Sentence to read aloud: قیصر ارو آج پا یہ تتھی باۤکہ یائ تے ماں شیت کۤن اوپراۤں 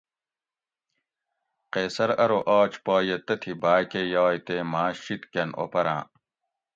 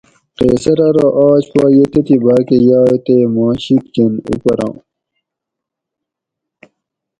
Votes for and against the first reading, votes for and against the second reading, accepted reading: 2, 0, 2, 2, first